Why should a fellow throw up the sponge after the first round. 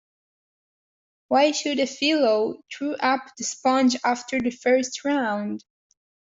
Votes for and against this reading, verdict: 1, 2, rejected